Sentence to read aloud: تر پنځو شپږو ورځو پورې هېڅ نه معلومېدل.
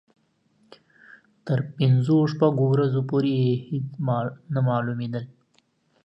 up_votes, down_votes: 1, 2